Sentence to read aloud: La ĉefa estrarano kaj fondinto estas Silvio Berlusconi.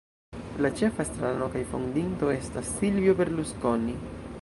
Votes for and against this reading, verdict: 1, 2, rejected